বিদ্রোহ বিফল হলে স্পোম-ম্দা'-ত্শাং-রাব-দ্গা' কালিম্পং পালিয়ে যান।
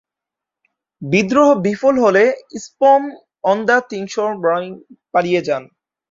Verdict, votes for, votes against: rejected, 1, 2